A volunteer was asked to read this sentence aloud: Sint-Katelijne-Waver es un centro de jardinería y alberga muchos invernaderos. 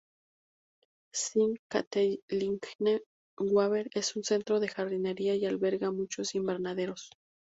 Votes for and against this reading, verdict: 0, 2, rejected